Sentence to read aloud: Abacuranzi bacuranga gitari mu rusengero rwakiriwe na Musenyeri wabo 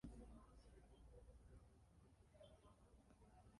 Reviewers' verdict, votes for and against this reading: rejected, 0, 2